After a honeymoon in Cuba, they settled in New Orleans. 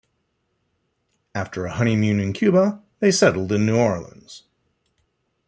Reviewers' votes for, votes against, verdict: 2, 1, accepted